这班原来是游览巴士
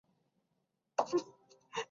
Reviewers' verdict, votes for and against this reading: rejected, 0, 3